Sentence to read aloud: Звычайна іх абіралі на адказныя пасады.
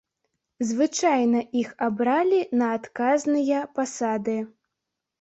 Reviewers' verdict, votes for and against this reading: rejected, 1, 2